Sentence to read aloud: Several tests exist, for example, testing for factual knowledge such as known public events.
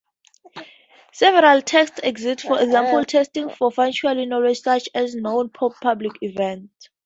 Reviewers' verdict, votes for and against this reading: rejected, 0, 2